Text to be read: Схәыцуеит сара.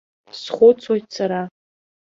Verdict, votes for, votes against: accepted, 2, 1